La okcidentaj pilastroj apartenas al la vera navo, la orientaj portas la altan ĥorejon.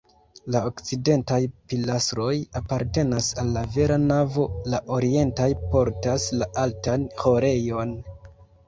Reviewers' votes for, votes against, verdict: 0, 2, rejected